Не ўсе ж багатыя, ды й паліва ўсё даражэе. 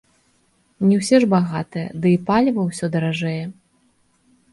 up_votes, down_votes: 2, 0